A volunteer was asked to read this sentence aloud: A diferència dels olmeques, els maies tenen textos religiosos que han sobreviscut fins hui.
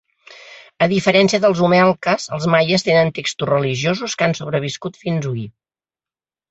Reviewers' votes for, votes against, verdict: 1, 2, rejected